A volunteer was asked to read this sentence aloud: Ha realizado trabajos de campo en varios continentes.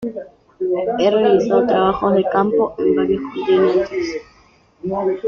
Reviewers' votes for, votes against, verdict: 0, 2, rejected